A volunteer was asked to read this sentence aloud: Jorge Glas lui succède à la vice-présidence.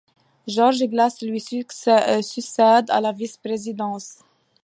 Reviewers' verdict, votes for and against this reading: rejected, 1, 2